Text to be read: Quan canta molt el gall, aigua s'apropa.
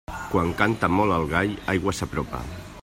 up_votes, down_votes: 1, 2